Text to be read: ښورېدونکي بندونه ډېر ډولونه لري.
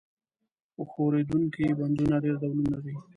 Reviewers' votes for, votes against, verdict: 0, 2, rejected